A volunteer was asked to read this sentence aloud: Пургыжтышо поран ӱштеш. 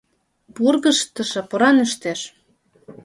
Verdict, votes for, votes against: rejected, 1, 2